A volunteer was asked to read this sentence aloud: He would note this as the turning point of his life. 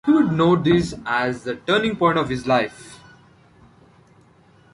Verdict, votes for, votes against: accepted, 2, 0